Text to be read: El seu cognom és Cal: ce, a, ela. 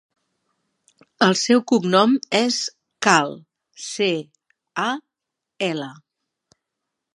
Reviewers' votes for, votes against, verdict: 2, 0, accepted